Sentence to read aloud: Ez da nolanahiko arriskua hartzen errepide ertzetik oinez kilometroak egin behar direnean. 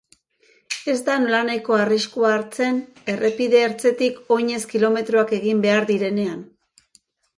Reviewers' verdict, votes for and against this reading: accepted, 2, 0